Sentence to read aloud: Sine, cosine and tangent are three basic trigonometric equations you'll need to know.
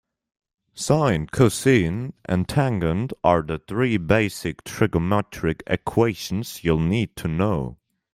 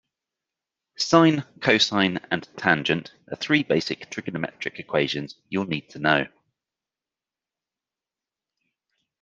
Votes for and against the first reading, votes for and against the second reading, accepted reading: 1, 2, 2, 0, second